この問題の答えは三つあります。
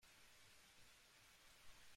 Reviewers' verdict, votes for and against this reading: rejected, 0, 2